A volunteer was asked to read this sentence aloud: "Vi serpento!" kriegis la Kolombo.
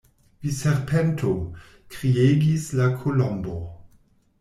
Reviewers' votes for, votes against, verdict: 2, 0, accepted